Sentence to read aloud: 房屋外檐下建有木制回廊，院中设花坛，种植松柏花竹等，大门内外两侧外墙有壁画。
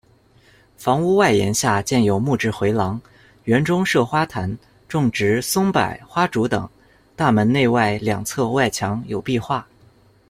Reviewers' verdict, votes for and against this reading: rejected, 0, 2